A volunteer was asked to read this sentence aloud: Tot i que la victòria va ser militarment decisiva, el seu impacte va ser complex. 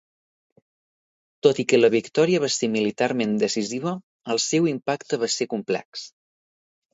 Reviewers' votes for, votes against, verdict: 2, 0, accepted